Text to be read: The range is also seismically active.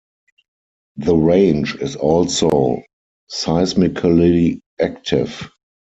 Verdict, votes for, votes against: rejected, 2, 4